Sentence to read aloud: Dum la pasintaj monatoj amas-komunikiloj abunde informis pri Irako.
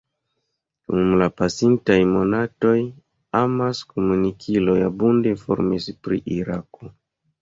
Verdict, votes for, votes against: rejected, 0, 2